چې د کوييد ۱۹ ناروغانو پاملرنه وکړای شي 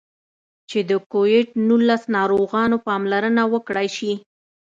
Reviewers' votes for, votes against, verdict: 0, 2, rejected